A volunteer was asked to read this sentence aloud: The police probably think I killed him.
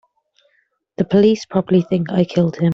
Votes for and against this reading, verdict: 3, 0, accepted